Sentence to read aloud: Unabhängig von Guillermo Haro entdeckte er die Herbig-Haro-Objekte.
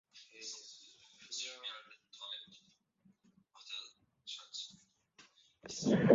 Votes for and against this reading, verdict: 0, 2, rejected